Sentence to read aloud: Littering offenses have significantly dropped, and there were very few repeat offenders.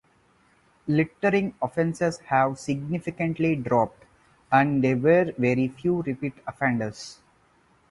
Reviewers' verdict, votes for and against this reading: accepted, 4, 0